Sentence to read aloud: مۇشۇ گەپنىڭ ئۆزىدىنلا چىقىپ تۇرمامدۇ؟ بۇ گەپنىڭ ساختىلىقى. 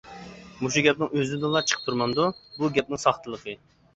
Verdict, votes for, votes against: accepted, 2, 0